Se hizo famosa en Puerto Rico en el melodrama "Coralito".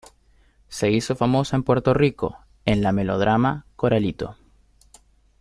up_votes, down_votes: 0, 2